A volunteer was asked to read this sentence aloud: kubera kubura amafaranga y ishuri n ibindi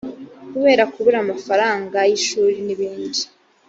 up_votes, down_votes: 2, 0